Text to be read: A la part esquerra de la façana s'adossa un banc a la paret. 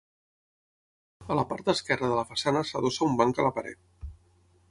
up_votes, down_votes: 6, 0